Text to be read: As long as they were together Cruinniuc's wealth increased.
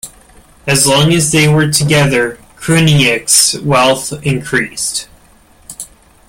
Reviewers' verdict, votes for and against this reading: accepted, 2, 0